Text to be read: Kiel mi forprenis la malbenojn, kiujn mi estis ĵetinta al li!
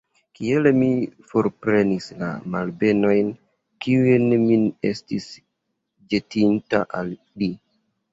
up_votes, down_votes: 1, 2